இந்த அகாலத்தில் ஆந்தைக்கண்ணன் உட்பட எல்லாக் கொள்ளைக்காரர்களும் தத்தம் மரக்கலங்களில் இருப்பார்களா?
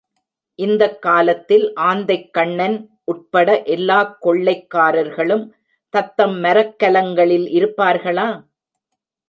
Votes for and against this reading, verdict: 1, 3, rejected